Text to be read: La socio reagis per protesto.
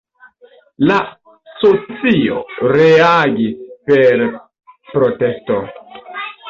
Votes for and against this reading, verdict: 3, 0, accepted